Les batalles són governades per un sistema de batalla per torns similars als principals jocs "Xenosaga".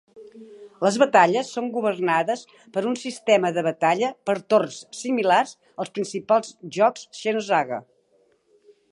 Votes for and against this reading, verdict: 2, 0, accepted